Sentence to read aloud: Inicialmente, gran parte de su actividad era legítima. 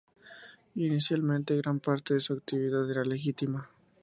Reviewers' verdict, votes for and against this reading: accepted, 2, 0